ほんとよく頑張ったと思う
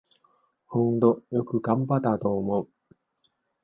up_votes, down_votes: 1, 2